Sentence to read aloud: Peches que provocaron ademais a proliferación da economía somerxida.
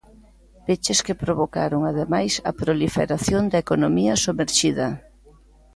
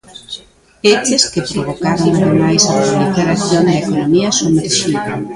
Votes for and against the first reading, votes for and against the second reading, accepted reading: 2, 0, 0, 2, first